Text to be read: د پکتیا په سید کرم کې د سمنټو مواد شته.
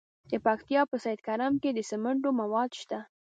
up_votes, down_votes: 1, 2